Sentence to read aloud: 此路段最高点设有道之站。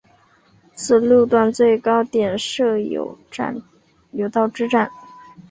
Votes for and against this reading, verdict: 1, 3, rejected